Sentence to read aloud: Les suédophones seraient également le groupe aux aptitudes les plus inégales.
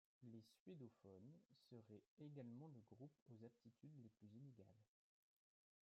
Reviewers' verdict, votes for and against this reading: rejected, 1, 3